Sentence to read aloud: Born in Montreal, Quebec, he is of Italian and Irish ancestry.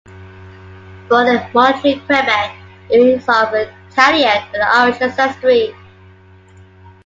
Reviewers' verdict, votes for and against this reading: accepted, 2, 1